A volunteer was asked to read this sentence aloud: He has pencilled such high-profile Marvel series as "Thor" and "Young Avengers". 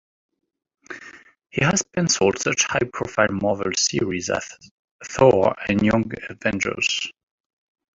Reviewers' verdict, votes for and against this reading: accepted, 2, 0